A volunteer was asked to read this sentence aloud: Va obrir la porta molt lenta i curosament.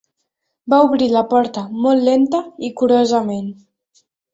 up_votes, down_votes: 2, 0